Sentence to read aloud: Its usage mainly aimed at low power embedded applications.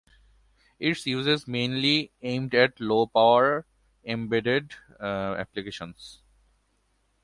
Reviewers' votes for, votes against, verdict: 0, 2, rejected